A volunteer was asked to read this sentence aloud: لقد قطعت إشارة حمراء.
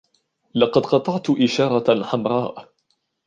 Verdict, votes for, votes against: accepted, 2, 1